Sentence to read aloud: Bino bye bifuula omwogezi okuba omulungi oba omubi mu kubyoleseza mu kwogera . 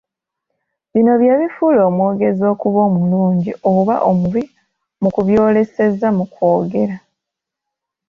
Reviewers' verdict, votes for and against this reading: accepted, 2, 0